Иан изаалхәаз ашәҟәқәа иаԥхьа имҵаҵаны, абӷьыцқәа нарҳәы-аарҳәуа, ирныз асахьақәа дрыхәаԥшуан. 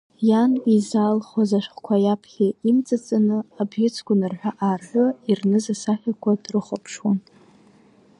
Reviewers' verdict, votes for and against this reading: accepted, 2, 1